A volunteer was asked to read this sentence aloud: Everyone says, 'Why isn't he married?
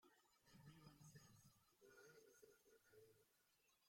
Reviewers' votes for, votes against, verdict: 0, 2, rejected